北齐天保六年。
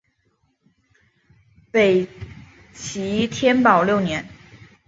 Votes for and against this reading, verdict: 1, 2, rejected